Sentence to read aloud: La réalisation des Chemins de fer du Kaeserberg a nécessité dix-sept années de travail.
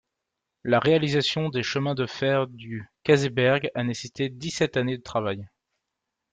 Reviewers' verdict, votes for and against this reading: rejected, 0, 2